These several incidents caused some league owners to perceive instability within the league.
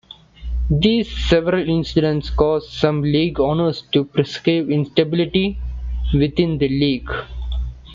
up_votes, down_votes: 2, 1